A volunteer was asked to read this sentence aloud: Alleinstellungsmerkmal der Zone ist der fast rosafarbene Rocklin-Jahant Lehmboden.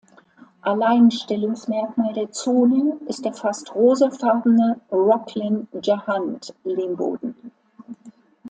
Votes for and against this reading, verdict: 2, 1, accepted